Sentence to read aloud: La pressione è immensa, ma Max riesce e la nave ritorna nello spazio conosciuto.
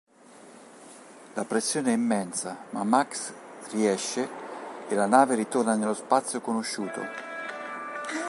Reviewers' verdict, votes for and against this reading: rejected, 1, 2